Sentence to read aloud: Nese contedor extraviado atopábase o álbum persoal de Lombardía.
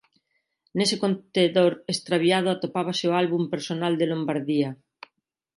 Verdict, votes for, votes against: rejected, 1, 2